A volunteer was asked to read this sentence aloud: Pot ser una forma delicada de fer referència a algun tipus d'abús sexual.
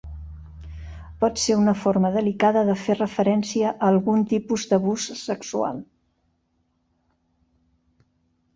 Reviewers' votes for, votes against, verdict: 2, 0, accepted